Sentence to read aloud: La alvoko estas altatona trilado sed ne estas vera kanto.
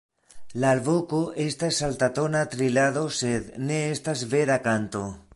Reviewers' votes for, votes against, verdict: 2, 1, accepted